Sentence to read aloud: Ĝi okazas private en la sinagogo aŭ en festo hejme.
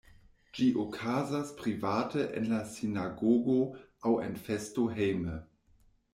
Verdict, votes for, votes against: accepted, 2, 0